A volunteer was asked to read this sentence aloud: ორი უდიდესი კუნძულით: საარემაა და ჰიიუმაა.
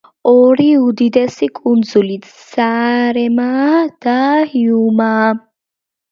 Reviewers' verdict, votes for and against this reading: accepted, 2, 1